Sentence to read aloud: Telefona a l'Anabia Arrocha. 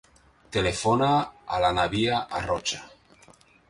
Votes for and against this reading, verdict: 2, 0, accepted